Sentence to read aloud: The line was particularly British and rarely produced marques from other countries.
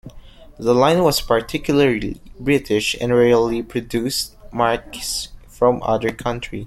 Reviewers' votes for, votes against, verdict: 2, 1, accepted